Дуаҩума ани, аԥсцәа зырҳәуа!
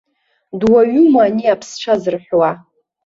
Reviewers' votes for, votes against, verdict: 2, 0, accepted